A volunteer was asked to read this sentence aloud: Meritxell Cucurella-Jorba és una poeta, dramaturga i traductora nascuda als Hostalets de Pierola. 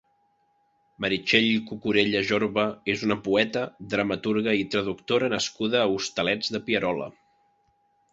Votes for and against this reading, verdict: 0, 2, rejected